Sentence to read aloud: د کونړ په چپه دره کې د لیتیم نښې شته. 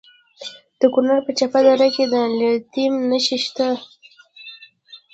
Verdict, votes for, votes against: rejected, 0, 2